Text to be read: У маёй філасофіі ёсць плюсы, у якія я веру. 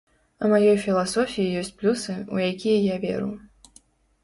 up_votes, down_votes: 2, 0